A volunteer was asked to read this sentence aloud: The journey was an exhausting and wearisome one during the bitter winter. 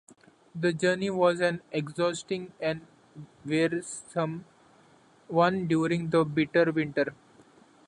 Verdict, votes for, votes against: accepted, 2, 0